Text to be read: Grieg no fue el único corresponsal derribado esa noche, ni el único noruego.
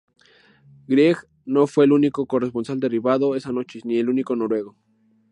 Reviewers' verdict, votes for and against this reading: accepted, 2, 0